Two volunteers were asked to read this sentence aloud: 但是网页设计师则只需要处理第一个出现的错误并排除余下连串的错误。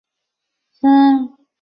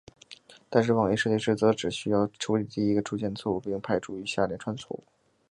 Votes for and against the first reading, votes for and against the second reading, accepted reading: 0, 2, 9, 0, second